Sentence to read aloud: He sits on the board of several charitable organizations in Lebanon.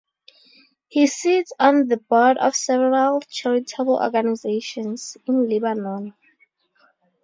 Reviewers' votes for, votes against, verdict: 2, 0, accepted